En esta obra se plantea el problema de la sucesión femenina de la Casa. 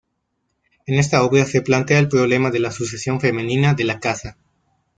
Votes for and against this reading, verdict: 2, 0, accepted